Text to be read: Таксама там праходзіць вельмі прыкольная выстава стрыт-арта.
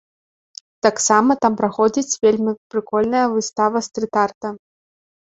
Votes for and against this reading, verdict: 2, 0, accepted